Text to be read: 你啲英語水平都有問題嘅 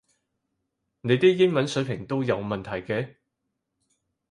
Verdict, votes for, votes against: rejected, 2, 4